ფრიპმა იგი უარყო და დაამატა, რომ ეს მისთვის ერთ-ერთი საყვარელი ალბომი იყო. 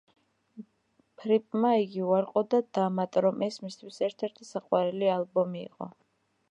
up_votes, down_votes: 2, 0